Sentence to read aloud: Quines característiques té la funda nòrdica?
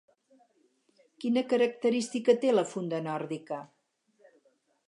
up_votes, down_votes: 0, 4